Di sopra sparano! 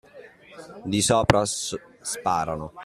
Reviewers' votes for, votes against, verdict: 0, 2, rejected